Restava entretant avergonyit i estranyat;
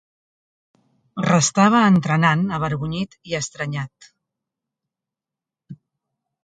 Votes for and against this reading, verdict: 1, 2, rejected